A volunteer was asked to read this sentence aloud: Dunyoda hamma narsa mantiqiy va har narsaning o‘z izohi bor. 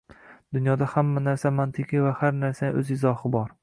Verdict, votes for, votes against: accepted, 2, 1